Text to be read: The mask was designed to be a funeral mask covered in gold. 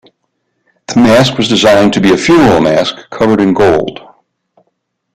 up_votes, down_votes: 2, 0